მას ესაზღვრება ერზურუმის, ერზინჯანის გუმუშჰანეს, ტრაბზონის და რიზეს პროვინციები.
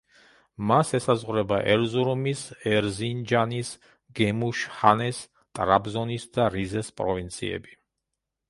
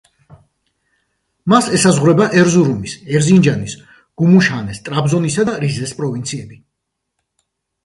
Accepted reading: second